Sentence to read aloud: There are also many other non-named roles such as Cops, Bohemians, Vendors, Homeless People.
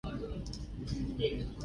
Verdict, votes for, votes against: rejected, 0, 2